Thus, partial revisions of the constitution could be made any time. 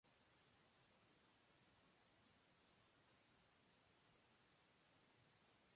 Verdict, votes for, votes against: rejected, 0, 2